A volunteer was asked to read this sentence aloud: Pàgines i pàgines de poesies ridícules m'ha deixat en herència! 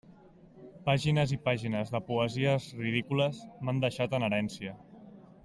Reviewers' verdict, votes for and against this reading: rejected, 0, 2